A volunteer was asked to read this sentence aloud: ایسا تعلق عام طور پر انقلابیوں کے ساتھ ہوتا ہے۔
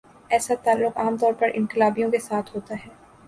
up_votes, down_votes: 2, 0